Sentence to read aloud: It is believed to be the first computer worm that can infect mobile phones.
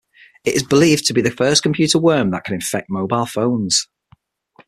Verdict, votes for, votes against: accepted, 6, 0